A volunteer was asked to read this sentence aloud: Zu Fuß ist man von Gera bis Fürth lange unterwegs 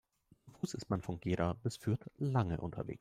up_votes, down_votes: 1, 2